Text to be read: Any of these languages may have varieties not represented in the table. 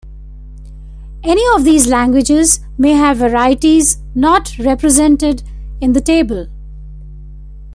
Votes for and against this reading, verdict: 2, 0, accepted